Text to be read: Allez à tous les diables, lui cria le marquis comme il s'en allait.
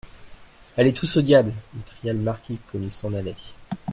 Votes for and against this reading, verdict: 0, 2, rejected